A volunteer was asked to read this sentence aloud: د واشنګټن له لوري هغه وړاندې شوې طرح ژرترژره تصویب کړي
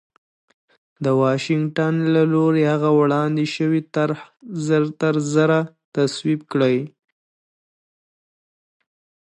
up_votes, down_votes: 0, 2